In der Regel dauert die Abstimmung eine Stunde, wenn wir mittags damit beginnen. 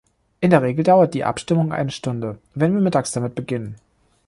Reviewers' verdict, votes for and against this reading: accepted, 2, 0